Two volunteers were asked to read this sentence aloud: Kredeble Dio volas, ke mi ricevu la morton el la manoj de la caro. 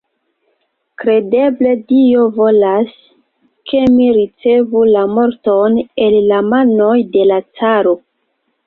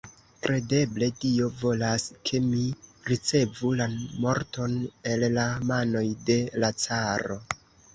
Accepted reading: first